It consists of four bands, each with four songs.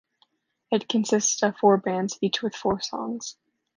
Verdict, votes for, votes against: accepted, 2, 0